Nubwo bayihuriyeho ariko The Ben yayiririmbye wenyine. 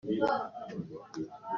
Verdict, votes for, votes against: rejected, 0, 2